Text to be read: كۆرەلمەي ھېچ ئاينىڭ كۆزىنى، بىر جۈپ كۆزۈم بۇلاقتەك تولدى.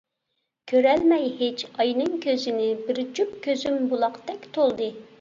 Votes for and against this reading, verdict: 2, 0, accepted